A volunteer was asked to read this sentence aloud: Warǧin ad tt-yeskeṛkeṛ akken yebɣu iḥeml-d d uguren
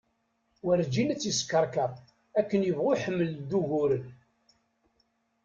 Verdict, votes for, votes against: accepted, 2, 0